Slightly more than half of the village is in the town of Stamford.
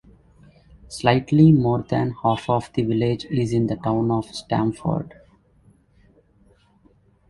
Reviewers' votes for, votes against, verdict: 2, 0, accepted